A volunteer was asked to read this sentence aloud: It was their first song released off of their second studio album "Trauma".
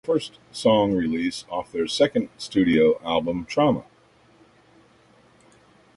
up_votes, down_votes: 0, 2